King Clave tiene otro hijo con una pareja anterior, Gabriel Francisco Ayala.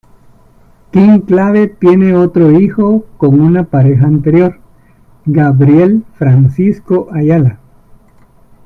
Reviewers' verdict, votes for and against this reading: accepted, 2, 1